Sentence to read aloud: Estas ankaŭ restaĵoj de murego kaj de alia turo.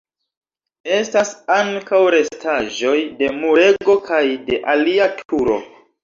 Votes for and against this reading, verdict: 1, 2, rejected